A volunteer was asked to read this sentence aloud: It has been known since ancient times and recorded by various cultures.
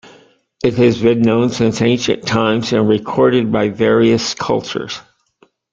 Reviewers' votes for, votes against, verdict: 2, 0, accepted